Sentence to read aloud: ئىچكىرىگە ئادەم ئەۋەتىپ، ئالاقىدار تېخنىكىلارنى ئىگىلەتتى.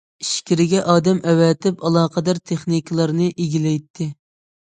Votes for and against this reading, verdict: 1, 2, rejected